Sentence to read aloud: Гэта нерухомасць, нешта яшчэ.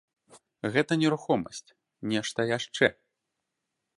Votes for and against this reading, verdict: 2, 0, accepted